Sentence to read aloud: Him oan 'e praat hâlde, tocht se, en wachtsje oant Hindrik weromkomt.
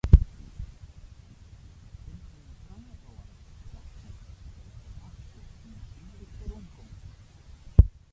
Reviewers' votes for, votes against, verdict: 0, 2, rejected